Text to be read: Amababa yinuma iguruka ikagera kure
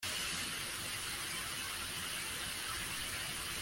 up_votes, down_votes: 0, 2